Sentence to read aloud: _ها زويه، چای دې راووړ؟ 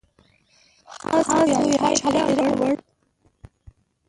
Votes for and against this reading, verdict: 1, 2, rejected